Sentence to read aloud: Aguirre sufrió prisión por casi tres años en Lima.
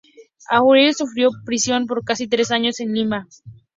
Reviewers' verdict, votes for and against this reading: rejected, 0, 4